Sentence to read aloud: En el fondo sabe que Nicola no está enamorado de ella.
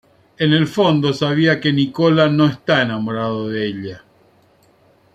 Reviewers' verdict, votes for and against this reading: rejected, 0, 2